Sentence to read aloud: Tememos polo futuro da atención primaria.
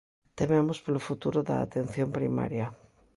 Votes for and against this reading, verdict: 2, 0, accepted